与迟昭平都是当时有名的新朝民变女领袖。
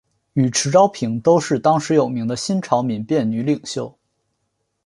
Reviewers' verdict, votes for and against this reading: accepted, 4, 1